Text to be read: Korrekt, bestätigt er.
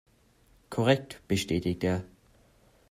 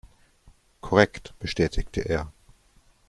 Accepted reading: first